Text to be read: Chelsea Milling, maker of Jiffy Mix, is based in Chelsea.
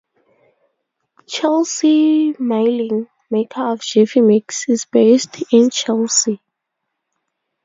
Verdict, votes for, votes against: accepted, 2, 0